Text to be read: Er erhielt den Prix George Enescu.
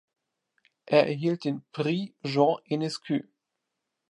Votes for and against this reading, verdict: 1, 2, rejected